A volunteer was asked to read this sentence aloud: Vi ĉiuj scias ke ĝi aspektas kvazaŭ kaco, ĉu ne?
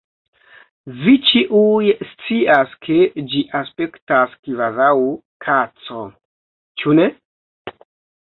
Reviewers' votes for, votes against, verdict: 1, 2, rejected